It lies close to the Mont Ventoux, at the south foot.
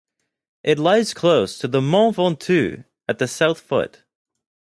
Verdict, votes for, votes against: accepted, 2, 0